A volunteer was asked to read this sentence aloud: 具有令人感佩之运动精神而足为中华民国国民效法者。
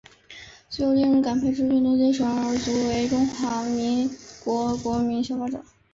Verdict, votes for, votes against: rejected, 1, 2